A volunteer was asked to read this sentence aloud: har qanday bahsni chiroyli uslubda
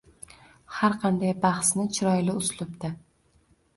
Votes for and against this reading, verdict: 2, 0, accepted